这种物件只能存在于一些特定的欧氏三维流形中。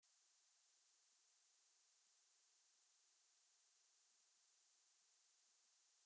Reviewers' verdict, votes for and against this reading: rejected, 0, 2